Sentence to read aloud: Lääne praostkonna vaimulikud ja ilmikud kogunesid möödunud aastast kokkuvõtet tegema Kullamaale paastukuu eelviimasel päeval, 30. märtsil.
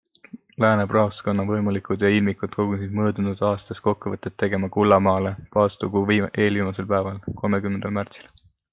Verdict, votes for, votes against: rejected, 0, 2